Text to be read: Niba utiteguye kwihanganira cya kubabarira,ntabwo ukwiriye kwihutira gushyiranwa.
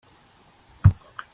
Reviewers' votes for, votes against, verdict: 0, 2, rejected